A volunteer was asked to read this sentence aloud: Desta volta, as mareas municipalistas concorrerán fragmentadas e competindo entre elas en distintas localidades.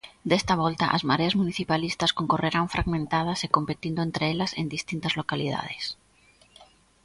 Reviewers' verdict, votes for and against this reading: accepted, 2, 0